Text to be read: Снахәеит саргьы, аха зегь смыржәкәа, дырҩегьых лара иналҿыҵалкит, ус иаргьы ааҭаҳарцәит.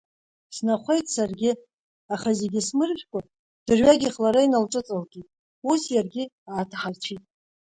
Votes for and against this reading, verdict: 2, 0, accepted